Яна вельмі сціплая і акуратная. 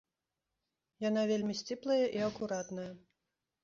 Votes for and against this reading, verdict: 2, 0, accepted